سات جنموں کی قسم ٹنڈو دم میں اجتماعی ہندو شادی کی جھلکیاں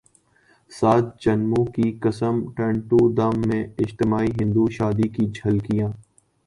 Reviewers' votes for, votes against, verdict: 2, 0, accepted